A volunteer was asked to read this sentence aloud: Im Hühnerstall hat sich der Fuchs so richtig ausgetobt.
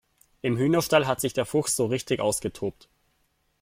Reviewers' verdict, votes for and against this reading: accepted, 2, 0